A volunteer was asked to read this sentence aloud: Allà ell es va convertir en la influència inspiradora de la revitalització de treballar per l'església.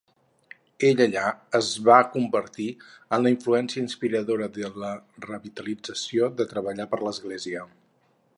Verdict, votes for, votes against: rejected, 2, 4